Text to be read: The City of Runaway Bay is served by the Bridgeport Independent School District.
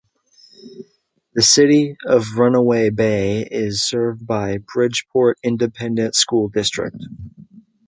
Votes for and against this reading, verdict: 1, 3, rejected